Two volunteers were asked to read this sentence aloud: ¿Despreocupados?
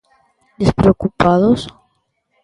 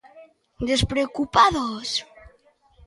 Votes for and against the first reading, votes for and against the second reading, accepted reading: 2, 0, 1, 2, first